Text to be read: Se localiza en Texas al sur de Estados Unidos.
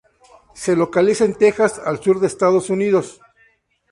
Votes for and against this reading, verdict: 4, 0, accepted